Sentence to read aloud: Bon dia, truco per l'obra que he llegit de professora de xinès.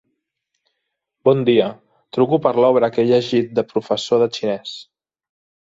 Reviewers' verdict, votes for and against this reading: rejected, 0, 2